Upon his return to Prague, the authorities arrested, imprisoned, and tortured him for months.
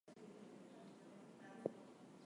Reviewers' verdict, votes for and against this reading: rejected, 0, 2